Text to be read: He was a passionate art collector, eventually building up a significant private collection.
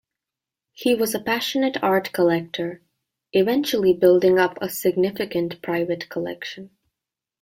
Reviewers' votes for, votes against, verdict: 3, 0, accepted